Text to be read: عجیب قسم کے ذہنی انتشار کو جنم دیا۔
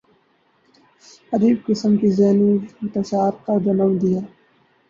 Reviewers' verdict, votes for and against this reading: rejected, 4, 4